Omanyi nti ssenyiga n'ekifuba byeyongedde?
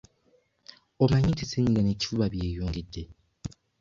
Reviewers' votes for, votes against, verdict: 2, 0, accepted